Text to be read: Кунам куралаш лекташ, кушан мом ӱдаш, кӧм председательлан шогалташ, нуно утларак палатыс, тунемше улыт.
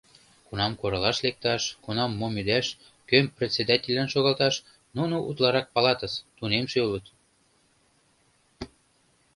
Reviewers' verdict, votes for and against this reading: rejected, 1, 2